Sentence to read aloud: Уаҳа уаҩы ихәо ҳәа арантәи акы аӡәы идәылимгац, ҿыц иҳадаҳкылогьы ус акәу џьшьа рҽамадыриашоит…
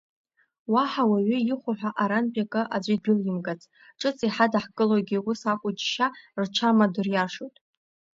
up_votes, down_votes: 2, 0